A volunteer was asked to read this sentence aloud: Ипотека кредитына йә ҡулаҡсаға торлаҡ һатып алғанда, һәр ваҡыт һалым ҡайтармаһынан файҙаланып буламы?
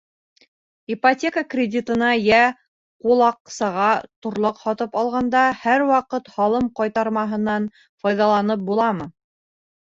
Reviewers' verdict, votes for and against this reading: rejected, 1, 2